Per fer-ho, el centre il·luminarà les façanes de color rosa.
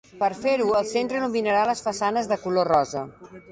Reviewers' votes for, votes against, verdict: 2, 1, accepted